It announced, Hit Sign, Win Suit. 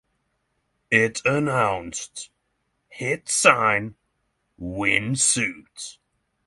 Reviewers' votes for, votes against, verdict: 6, 0, accepted